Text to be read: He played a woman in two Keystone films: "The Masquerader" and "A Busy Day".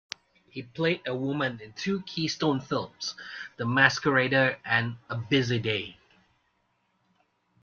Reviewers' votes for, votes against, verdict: 3, 0, accepted